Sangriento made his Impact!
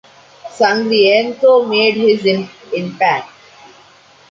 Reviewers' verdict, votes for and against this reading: rejected, 1, 2